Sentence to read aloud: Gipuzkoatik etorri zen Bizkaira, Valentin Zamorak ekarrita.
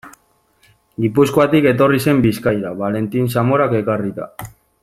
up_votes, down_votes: 2, 0